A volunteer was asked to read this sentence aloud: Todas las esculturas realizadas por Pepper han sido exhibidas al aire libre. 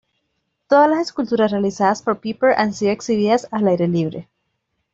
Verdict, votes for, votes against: rejected, 1, 2